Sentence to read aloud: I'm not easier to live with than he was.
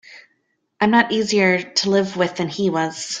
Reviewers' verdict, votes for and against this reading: accepted, 2, 0